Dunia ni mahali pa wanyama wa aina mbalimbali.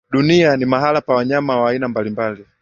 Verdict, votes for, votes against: accepted, 5, 0